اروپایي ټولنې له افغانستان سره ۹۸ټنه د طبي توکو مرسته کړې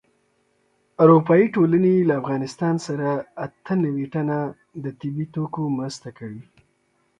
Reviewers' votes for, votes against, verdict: 0, 2, rejected